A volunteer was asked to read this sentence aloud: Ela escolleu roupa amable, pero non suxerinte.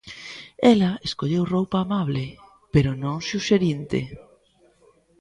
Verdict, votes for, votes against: accepted, 2, 0